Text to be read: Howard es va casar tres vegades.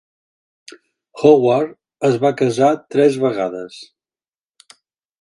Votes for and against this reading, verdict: 2, 0, accepted